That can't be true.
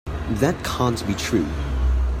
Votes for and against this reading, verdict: 2, 1, accepted